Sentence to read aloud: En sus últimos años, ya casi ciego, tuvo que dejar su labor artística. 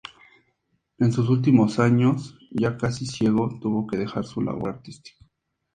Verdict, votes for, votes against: accepted, 4, 0